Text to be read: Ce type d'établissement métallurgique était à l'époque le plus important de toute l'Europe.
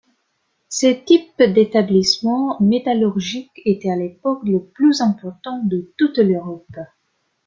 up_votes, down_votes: 1, 2